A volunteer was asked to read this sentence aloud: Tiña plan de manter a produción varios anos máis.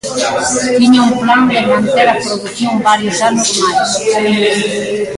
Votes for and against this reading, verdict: 0, 2, rejected